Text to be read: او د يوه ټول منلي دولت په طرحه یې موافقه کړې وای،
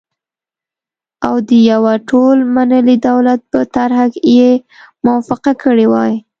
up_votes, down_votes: 2, 0